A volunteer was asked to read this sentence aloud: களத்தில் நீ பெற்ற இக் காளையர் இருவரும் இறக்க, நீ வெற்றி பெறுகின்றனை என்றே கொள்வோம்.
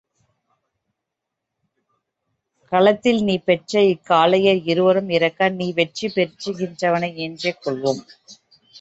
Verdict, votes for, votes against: rejected, 1, 2